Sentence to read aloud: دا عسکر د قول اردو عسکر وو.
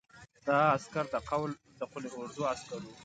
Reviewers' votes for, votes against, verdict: 1, 2, rejected